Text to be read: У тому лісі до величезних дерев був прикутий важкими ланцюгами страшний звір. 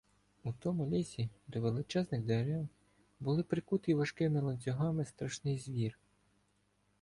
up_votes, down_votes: 1, 2